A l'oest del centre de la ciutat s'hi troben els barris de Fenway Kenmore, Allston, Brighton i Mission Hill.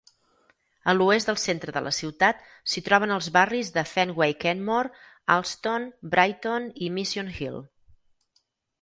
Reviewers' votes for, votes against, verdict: 2, 4, rejected